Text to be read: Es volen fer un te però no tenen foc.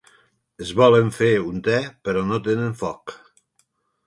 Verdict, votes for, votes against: accepted, 4, 1